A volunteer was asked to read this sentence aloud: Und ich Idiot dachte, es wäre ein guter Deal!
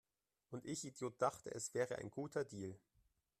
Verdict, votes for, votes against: rejected, 0, 2